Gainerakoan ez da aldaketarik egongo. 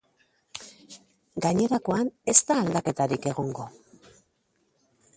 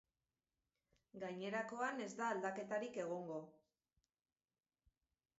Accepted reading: first